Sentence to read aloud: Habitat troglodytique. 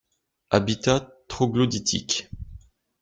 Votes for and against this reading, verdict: 2, 0, accepted